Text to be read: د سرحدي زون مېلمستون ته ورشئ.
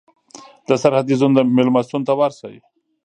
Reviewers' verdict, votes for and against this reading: rejected, 0, 2